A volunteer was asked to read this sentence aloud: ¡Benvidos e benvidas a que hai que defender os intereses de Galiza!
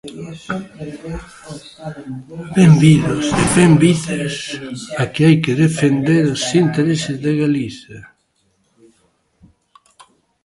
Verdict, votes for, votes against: rejected, 0, 2